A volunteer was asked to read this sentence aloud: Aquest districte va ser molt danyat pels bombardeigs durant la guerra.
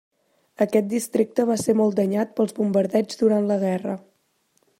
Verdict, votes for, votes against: accepted, 3, 0